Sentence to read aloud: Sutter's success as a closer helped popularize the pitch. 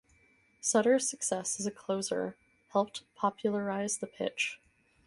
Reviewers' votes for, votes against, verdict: 4, 0, accepted